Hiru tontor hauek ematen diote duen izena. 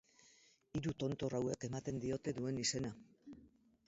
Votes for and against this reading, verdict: 2, 2, rejected